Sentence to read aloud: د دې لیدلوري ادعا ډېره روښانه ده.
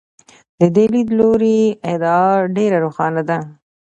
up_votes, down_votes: 2, 0